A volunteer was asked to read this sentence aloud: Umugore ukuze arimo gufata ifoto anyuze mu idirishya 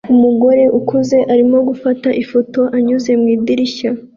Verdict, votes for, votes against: accepted, 2, 0